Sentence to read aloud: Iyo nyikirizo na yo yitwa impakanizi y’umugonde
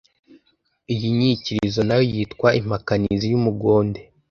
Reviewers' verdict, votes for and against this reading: rejected, 1, 2